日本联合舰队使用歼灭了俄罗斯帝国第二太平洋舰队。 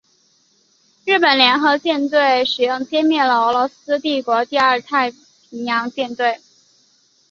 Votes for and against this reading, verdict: 2, 0, accepted